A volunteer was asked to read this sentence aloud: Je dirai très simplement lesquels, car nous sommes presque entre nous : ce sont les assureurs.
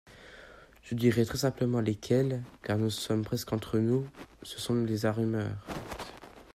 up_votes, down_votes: 0, 2